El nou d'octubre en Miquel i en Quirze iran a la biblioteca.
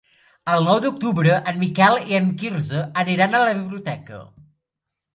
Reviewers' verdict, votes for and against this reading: rejected, 0, 2